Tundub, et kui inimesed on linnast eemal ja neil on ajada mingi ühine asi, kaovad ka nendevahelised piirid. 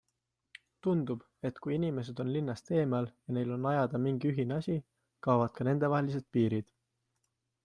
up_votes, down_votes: 2, 0